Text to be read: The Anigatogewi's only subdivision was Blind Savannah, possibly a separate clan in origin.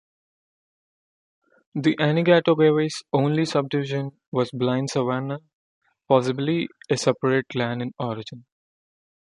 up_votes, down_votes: 2, 0